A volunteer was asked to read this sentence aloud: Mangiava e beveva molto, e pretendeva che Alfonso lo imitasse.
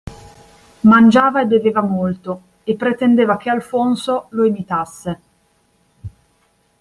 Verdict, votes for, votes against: accepted, 2, 0